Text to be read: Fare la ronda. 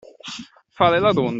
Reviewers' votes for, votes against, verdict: 0, 2, rejected